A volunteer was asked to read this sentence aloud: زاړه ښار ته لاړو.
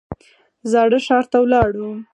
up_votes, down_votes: 4, 2